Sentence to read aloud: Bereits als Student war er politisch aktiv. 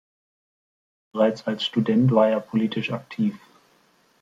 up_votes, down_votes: 2, 1